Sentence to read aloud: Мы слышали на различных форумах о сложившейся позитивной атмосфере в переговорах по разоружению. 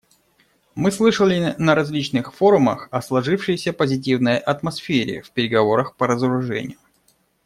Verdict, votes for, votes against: accepted, 2, 1